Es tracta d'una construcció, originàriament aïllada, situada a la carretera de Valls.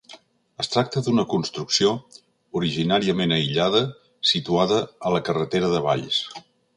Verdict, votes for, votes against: accepted, 2, 0